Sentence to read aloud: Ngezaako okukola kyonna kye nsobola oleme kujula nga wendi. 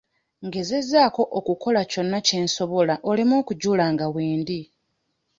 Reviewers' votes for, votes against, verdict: 1, 2, rejected